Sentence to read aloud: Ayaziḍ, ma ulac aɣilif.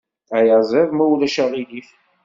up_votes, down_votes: 2, 0